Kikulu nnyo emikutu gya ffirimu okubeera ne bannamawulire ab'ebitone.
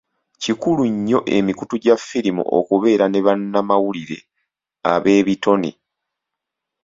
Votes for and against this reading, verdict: 2, 0, accepted